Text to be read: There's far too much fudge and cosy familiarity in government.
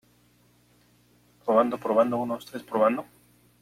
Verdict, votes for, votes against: rejected, 0, 3